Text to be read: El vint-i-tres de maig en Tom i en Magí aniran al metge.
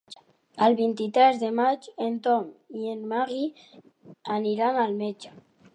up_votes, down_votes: 0, 2